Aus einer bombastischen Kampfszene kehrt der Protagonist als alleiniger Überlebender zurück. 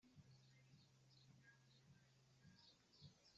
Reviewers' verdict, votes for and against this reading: rejected, 0, 2